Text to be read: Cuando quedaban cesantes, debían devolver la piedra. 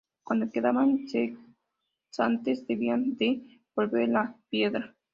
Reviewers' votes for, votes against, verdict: 0, 2, rejected